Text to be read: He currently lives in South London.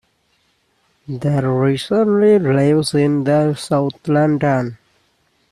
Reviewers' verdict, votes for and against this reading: rejected, 0, 2